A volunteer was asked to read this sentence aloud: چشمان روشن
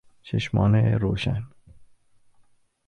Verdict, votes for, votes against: rejected, 0, 2